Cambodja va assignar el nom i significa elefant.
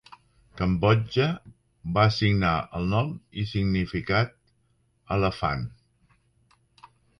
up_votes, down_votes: 0, 2